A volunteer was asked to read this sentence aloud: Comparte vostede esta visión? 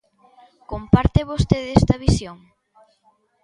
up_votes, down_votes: 2, 0